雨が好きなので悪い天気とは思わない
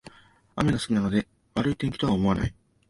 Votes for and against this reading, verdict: 1, 2, rejected